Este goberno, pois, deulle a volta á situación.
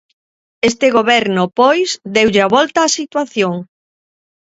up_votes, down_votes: 2, 0